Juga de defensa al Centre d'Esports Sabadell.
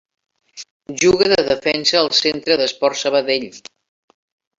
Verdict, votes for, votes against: accepted, 2, 0